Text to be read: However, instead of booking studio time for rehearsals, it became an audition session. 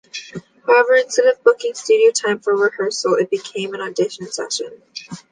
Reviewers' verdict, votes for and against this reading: accepted, 2, 0